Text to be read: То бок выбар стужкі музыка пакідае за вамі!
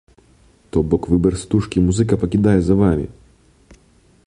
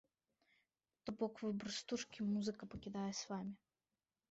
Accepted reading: first